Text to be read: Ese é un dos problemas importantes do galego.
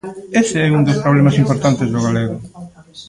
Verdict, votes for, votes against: rejected, 1, 2